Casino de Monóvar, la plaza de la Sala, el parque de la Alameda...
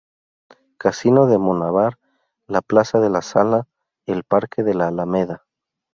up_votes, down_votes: 0, 2